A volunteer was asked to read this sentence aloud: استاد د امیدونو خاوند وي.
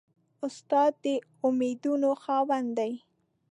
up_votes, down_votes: 1, 2